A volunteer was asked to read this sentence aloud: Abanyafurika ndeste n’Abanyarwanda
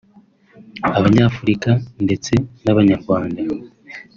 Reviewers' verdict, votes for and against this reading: accepted, 4, 0